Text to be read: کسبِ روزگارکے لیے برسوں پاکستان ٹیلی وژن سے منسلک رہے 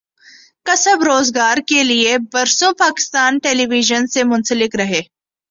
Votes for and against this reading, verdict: 2, 0, accepted